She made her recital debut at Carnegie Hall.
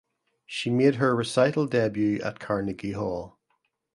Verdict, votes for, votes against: accepted, 2, 0